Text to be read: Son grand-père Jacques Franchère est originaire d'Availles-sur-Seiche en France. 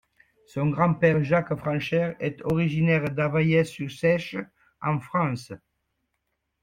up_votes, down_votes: 0, 2